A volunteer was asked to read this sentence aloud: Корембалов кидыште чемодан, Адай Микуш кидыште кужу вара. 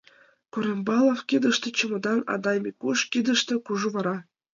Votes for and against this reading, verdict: 2, 1, accepted